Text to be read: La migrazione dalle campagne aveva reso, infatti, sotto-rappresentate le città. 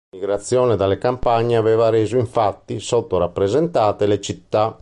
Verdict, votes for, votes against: accepted, 3, 0